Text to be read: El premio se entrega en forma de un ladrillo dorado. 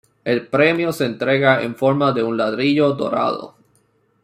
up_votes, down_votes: 2, 1